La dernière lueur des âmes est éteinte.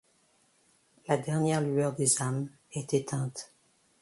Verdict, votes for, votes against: accepted, 2, 0